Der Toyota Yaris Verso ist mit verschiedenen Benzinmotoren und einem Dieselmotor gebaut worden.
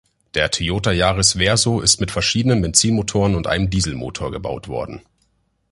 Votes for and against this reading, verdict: 2, 0, accepted